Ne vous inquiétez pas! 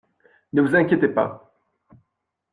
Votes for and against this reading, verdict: 2, 0, accepted